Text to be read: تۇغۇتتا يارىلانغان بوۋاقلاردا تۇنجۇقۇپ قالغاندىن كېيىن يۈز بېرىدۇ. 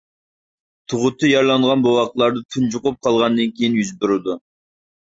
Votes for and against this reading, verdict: 1, 2, rejected